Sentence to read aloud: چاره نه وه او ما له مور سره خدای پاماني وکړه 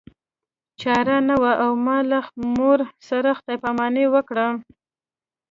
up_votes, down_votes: 2, 0